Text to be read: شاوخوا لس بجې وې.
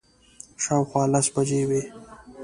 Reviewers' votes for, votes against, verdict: 2, 0, accepted